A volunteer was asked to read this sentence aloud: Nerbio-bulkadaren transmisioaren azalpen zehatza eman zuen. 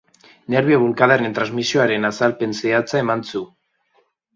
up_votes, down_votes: 0, 2